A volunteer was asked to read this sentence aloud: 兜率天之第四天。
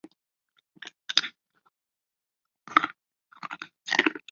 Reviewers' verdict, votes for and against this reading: rejected, 0, 4